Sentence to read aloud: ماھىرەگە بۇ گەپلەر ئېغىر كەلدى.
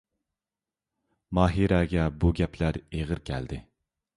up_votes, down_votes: 2, 0